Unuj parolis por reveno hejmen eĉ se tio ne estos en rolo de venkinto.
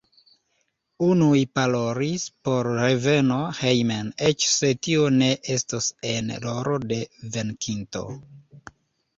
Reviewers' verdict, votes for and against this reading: rejected, 0, 2